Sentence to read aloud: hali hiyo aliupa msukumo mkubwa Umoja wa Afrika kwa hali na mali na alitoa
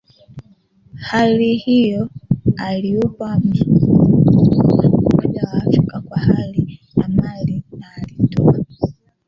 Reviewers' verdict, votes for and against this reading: rejected, 0, 2